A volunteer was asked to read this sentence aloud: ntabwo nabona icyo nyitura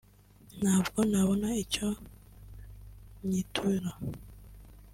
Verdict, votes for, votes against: accepted, 2, 0